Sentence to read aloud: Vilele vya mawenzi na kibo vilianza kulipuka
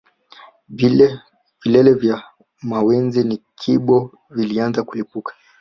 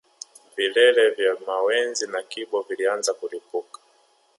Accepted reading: second